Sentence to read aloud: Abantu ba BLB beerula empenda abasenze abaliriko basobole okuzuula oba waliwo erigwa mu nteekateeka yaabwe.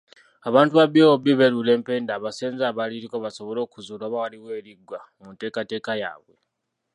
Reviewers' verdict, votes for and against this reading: rejected, 0, 2